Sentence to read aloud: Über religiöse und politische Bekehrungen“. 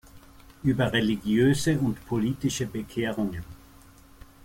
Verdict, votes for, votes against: accepted, 2, 0